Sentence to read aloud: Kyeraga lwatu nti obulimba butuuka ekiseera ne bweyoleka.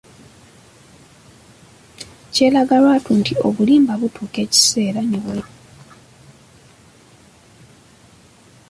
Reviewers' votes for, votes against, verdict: 0, 2, rejected